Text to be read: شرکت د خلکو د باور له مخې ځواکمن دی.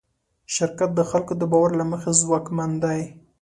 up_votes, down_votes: 2, 0